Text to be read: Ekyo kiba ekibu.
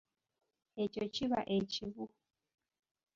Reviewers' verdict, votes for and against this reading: accepted, 2, 0